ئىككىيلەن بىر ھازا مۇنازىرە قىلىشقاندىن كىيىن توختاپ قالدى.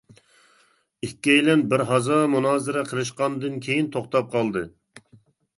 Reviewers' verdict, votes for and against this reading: accepted, 2, 0